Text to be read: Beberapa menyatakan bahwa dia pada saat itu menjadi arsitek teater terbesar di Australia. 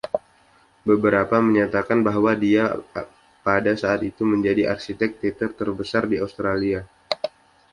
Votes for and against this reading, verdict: 2, 0, accepted